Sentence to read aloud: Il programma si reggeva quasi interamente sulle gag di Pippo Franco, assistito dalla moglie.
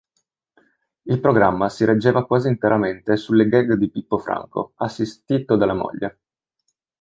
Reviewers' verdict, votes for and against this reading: accepted, 2, 0